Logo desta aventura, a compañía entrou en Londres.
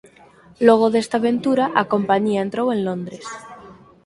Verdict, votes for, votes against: accepted, 4, 0